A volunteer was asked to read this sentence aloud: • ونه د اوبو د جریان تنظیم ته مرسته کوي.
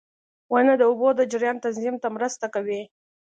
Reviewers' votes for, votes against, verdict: 2, 0, accepted